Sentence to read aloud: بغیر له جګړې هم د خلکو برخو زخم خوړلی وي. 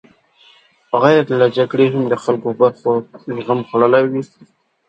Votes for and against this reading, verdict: 2, 0, accepted